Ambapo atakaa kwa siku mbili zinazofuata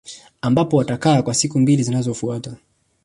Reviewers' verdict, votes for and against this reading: accepted, 2, 1